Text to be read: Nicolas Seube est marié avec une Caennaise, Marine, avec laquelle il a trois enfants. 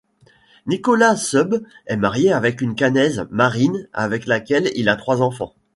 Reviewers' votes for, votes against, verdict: 2, 0, accepted